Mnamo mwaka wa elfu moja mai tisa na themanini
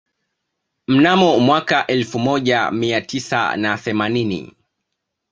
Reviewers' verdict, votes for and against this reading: accepted, 2, 0